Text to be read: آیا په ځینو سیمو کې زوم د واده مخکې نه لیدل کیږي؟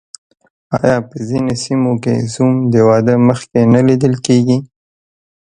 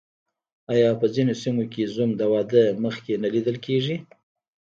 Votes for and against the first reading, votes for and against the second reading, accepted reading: 3, 2, 1, 2, first